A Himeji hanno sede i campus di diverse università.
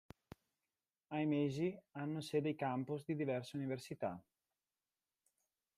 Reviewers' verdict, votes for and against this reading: rejected, 0, 2